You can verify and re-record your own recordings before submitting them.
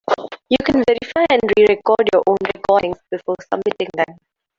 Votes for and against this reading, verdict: 0, 2, rejected